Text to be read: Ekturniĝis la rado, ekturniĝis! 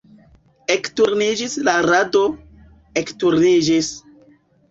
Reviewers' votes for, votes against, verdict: 2, 0, accepted